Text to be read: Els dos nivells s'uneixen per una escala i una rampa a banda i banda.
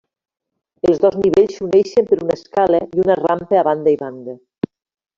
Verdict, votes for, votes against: accepted, 2, 0